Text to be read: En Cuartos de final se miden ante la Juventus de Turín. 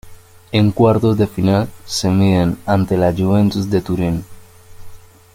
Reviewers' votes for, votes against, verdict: 0, 2, rejected